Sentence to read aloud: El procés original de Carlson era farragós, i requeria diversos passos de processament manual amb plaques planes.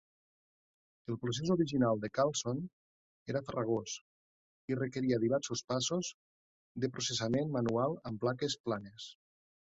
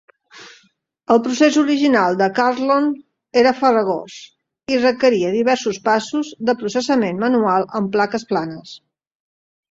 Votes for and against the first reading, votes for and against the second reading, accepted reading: 2, 0, 1, 2, first